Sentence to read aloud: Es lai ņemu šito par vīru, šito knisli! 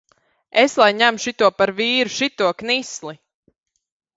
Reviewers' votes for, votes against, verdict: 2, 0, accepted